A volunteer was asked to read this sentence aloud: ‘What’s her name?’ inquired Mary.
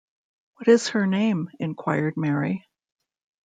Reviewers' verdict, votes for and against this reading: rejected, 0, 2